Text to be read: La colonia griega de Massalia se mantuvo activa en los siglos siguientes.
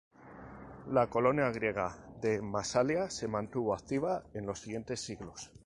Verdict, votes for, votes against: rejected, 0, 2